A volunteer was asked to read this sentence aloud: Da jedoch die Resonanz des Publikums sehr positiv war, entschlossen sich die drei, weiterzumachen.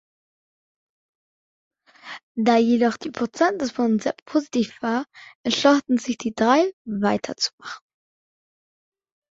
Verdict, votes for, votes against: rejected, 0, 2